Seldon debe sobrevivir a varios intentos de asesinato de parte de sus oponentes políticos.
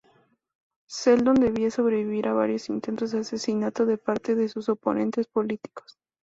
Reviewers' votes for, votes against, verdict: 2, 0, accepted